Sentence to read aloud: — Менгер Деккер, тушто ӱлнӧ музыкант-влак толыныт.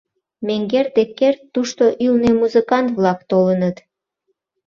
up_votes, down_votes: 2, 0